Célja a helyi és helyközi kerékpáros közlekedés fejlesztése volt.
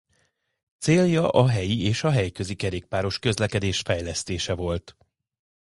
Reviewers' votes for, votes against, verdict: 1, 2, rejected